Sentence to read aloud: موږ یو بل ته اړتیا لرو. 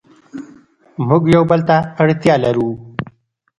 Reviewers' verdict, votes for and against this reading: accepted, 2, 0